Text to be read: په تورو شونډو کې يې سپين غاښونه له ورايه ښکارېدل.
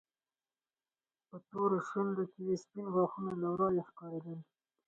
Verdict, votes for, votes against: accepted, 4, 2